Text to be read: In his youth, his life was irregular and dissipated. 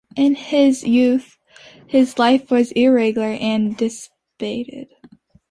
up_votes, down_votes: 1, 2